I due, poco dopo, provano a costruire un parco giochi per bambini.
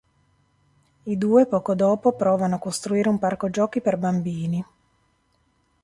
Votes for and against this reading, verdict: 2, 2, rejected